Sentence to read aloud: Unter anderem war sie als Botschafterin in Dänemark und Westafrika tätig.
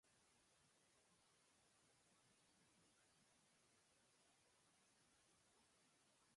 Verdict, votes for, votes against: rejected, 0, 4